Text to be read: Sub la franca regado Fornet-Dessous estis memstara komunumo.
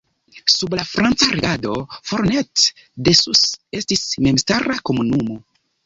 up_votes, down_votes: 1, 2